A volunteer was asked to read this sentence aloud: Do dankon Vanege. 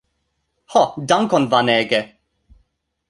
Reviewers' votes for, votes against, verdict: 0, 2, rejected